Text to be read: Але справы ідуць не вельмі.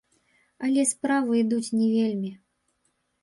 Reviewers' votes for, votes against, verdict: 0, 2, rejected